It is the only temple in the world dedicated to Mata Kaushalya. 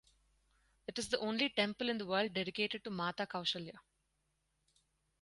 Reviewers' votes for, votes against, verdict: 4, 0, accepted